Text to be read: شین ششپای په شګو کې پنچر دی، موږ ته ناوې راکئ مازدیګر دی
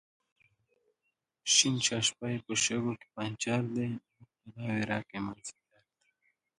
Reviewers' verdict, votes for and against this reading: rejected, 1, 2